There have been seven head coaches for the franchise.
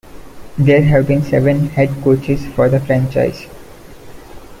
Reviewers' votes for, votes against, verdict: 2, 0, accepted